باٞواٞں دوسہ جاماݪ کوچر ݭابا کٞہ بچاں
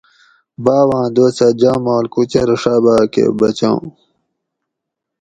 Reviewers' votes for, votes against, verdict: 4, 0, accepted